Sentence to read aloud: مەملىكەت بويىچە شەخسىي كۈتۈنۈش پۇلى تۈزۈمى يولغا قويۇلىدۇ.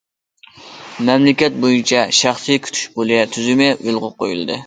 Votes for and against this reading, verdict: 0, 2, rejected